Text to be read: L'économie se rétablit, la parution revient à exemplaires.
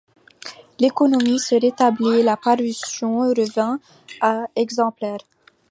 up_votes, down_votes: 1, 2